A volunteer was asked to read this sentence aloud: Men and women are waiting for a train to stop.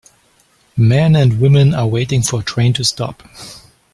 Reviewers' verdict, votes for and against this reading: rejected, 1, 2